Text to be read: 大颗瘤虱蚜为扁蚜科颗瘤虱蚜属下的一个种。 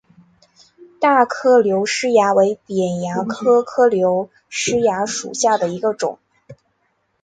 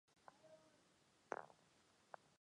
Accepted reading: first